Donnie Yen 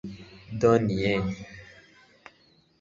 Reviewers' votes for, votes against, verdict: 1, 2, rejected